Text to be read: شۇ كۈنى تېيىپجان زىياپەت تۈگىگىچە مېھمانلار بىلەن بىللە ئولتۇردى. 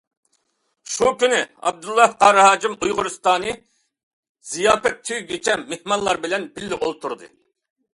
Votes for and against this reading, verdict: 0, 2, rejected